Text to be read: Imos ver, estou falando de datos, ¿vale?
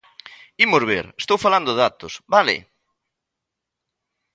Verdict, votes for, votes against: rejected, 1, 2